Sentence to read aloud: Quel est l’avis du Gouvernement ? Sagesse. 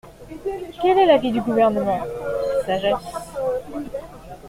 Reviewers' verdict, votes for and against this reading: accepted, 2, 0